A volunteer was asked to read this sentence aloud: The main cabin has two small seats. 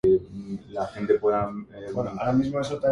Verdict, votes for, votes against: rejected, 0, 2